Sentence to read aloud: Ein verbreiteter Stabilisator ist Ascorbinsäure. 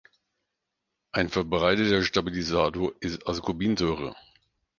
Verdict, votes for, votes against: rejected, 2, 4